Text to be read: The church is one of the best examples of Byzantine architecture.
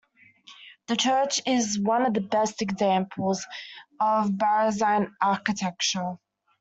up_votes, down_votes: 0, 2